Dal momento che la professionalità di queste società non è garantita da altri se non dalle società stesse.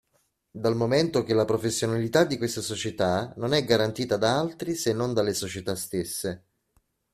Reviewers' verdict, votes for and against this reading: accepted, 2, 0